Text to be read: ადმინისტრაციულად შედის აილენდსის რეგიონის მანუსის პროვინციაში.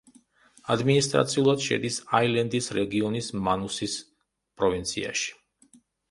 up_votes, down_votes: 1, 2